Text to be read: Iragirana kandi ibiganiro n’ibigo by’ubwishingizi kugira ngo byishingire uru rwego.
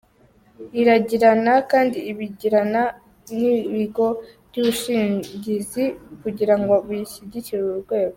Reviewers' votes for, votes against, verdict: 0, 2, rejected